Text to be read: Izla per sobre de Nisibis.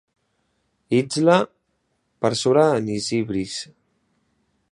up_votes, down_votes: 1, 2